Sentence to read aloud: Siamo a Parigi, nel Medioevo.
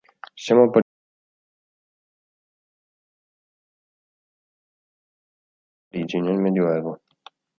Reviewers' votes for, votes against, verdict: 0, 2, rejected